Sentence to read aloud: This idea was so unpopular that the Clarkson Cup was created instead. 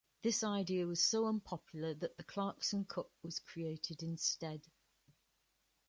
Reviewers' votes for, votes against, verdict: 2, 0, accepted